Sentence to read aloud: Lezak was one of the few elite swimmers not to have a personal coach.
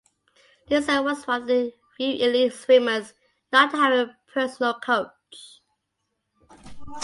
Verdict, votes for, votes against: rejected, 0, 2